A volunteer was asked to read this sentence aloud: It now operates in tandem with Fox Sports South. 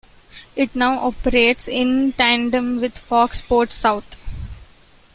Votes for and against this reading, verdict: 2, 0, accepted